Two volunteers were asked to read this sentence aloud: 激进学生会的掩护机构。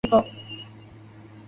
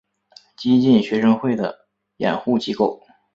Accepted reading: second